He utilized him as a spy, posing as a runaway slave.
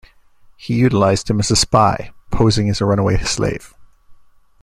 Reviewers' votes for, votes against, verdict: 2, 0, accepted